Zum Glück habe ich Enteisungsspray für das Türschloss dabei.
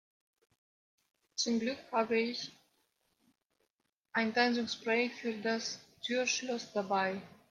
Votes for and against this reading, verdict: 1, 3, rejected